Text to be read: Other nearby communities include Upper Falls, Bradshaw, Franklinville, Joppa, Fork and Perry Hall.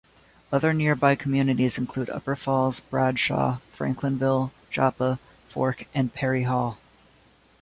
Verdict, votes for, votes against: accepted, 2, 1